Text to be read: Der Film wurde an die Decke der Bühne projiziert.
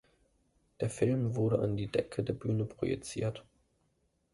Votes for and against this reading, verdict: 2, 0, accepted